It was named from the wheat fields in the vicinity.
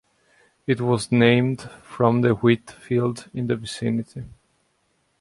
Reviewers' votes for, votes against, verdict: 1, 2, rejected